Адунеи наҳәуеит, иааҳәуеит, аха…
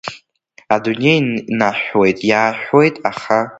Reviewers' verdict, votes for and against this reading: accepted, 2, 0